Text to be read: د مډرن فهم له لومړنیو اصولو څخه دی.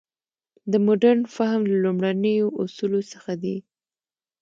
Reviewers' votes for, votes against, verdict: 2, 0, accepted